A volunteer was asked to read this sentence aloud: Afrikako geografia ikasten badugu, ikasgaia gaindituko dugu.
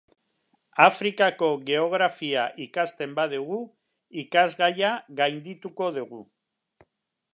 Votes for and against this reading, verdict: 1, 3, rejected